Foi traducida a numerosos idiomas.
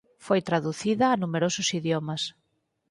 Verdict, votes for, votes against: accepted, 4, 0